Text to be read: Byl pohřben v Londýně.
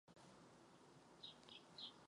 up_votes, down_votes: 0, 2